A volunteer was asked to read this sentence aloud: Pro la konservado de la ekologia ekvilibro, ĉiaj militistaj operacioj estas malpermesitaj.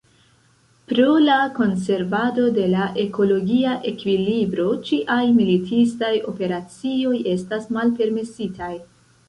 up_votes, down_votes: 1, 2